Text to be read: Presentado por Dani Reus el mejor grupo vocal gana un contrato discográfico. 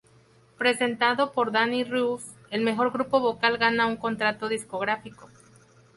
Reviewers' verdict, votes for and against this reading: accepted, 2, 0